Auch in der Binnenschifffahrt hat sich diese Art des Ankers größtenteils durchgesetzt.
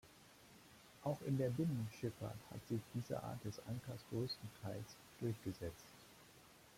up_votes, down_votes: 3, 0